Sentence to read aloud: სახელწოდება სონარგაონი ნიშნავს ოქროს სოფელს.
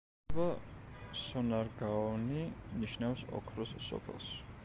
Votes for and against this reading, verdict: 0, 2, rejected